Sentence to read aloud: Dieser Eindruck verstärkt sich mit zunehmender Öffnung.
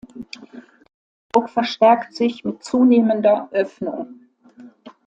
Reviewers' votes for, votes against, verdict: 0, 2, rejected